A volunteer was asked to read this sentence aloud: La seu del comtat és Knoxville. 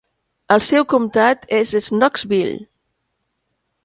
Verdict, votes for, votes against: rejected, 1, 2